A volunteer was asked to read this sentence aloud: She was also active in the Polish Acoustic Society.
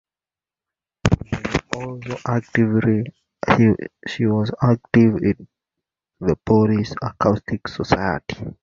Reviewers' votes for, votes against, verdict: 1, 2, rejected